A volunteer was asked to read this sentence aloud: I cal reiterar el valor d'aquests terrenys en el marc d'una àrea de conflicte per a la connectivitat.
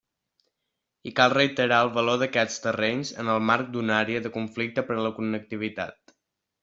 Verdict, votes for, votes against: rejected, 1, 3